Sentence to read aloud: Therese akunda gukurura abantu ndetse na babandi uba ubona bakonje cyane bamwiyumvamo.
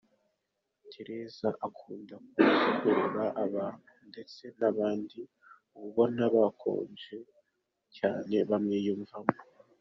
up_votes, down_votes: 0, 2